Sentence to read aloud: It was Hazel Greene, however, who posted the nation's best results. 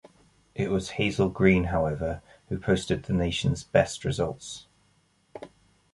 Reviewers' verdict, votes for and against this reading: accepted, 2, 0